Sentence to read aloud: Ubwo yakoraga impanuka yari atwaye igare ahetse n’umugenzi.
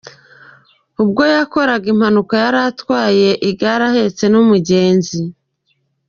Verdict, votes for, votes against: rejected, 1, 2